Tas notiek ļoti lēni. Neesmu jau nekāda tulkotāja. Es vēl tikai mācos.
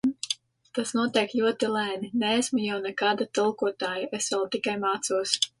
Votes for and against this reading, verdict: 2, 0, accepted